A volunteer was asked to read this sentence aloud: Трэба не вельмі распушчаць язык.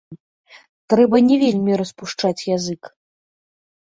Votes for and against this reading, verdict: 2, 0, accepted